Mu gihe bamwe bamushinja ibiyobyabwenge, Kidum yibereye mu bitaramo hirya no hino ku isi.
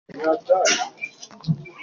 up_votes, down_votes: 1, 2